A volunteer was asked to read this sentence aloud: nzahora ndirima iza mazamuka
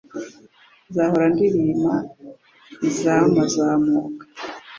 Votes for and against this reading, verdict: 2, 0, accepted